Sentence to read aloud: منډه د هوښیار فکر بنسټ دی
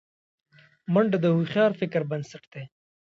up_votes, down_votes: 1, 2